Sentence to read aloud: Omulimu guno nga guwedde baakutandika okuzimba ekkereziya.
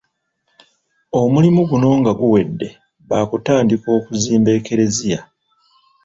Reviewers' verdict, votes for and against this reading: rejected, 0, 2